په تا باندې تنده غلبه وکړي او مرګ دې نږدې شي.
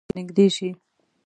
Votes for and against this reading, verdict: 0, 2, rejected